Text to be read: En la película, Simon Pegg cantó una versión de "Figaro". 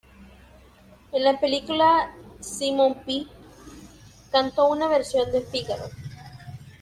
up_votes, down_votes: 2, 0